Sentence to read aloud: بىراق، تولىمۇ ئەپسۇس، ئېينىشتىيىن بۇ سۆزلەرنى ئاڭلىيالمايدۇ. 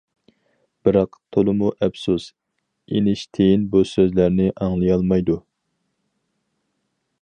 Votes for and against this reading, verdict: 4, 0, accepted